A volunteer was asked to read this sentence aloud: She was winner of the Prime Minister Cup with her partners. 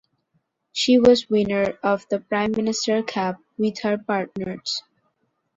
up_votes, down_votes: 2, 0